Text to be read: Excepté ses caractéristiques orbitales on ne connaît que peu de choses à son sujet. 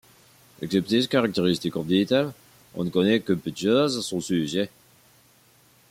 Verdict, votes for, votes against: accepted, 2, 0